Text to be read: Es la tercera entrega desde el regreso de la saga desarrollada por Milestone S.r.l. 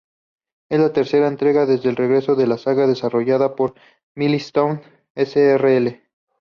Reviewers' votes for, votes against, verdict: 2, 0, accepted